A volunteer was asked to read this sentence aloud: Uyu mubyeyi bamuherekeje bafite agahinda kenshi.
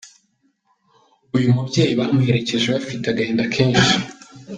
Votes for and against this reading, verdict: 2, 0, accepted